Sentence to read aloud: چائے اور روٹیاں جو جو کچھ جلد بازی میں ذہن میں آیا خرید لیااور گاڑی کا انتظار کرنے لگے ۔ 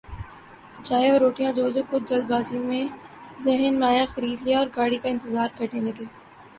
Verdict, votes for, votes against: rejected, 1, 2